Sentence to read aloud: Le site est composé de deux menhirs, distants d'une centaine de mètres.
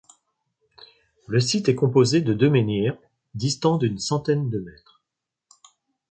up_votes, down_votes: 2, 0